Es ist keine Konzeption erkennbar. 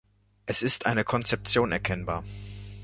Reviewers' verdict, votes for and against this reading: rejected, 0, 2